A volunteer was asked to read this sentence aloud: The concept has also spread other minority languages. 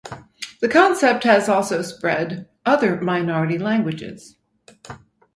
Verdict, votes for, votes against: accepted, 4, 0